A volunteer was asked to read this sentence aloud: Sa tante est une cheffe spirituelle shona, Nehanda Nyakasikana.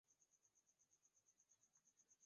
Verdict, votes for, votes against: rejected, 0, 2